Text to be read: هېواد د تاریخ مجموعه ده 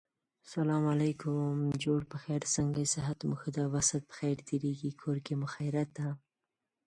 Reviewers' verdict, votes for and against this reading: rejected, 0, 2